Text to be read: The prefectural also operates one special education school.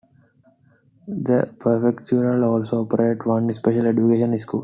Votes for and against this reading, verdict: 1, 2, rejected